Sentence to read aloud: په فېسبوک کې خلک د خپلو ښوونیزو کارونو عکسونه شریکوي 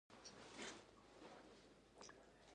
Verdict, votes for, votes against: rejected, 0, 2